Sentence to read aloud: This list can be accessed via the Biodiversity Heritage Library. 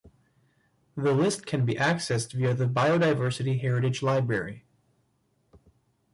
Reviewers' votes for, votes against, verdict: 1, 2, rejected